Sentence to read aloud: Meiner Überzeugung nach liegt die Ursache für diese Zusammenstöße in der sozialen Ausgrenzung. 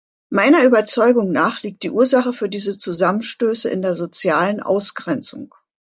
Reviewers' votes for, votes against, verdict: 2, 0, accepted